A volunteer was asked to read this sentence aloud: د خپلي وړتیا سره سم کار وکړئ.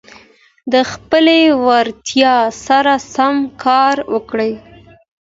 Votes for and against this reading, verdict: 2, 0, accepted